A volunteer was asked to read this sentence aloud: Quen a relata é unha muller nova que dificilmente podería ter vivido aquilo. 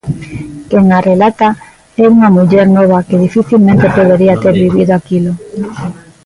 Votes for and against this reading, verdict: 0, 2, rejected